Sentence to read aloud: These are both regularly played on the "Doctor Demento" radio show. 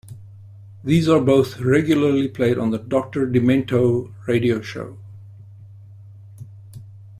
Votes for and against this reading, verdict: 2, 0, accepted